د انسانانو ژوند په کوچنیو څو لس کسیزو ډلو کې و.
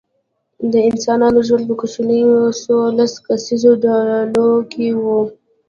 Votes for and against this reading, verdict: 1, 2, rejected